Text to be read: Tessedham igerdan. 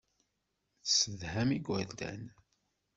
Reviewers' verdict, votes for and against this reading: accepted, 2, 0